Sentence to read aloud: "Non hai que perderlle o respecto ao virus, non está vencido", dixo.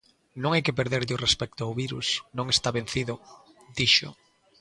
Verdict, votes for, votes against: accepted, 2, 0